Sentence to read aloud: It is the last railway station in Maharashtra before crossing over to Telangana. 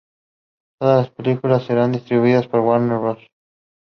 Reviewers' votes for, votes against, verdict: 0, 2, rejected